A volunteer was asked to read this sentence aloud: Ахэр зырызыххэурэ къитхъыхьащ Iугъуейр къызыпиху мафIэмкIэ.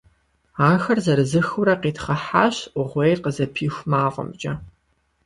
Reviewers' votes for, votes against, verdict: 2, 0, accepted